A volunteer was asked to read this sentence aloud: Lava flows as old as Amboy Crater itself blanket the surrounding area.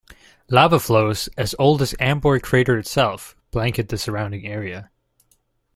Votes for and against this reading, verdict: 1, 2, rejected